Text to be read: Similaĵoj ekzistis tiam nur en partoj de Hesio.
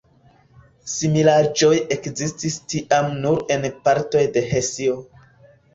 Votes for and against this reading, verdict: 2, 0, accepted